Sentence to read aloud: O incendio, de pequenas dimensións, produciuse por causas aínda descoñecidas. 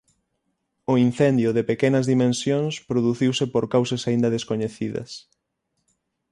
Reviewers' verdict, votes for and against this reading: accepted, 6, 0